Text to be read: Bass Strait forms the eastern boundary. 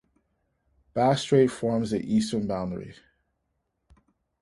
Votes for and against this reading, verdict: 2, 0, accepted